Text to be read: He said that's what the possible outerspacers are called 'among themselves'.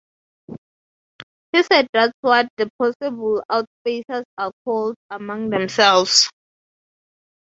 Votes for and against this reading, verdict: 3, 3, rejected